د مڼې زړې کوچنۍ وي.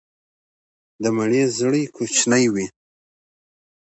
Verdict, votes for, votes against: accepted, 2, 0